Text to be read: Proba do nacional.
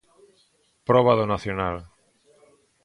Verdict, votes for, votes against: accepted, 3, 0